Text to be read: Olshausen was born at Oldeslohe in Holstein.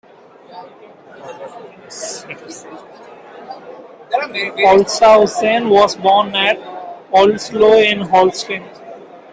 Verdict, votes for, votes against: rejected, 0, 2